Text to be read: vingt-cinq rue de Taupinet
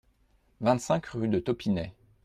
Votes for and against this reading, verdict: 2, 0, accepted